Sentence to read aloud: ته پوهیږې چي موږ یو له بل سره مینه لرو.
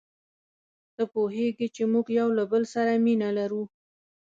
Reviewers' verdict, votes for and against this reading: accepted, 2, 0